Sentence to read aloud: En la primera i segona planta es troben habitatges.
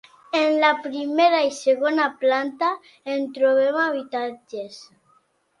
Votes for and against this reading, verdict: 0, 2, rejected